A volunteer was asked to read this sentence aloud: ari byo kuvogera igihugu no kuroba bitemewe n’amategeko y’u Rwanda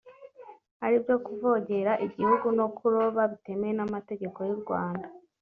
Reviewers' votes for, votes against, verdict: 2, 0, accepted